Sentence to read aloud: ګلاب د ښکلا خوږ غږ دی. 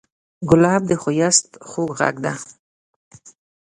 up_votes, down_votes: 1, 2